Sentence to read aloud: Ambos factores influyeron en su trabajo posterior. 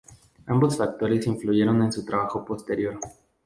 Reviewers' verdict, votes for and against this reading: rejected, 0, 2